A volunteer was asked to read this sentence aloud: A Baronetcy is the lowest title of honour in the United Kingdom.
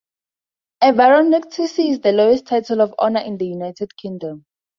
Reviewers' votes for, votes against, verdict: 2, 2, rejected